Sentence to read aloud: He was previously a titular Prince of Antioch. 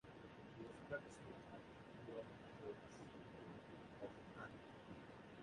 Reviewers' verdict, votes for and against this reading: accepted, 2, 0